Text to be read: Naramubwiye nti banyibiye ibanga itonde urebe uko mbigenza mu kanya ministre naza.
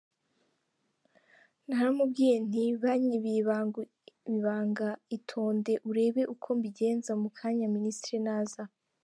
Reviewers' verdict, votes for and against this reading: rejected, 0, 2